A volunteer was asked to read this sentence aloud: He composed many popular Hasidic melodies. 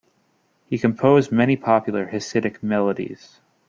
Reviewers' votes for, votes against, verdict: 2, 0, accepted